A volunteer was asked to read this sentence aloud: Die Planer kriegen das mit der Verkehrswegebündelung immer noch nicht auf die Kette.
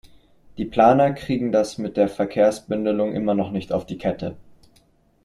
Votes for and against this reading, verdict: 1, 2, rejected